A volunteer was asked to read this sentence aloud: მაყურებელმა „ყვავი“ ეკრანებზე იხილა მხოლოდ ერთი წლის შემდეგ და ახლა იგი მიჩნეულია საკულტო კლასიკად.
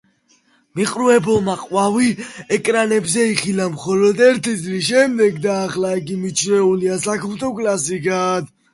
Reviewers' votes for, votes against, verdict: 1, 2, rejected